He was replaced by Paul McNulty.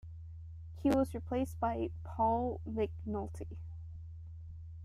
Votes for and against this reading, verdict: 0, 2, rejected